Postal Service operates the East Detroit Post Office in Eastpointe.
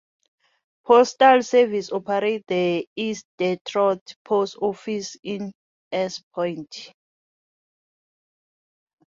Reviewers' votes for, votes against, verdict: 0, 2, rejected